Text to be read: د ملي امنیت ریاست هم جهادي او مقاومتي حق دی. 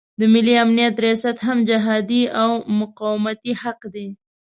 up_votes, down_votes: 2, 0